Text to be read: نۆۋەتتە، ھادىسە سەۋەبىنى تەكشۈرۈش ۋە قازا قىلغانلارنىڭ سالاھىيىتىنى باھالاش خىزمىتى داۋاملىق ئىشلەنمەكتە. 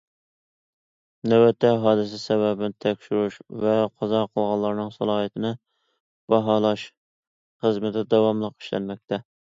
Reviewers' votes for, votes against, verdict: 2, 0, accepted